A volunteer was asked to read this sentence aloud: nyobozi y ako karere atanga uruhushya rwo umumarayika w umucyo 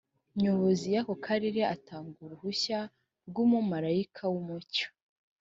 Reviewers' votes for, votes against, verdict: 2, 0, accepted